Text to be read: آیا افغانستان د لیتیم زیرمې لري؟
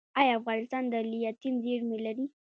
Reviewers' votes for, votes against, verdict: 1, 2, rejected